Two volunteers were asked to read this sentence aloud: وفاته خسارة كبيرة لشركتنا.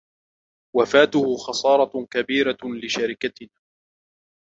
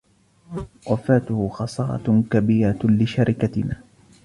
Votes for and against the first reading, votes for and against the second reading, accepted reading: 2, 0, 1, 2, first